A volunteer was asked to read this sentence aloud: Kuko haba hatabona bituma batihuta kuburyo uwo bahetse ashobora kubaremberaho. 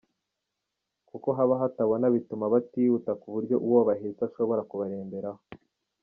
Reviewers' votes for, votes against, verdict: 0, 2, rejected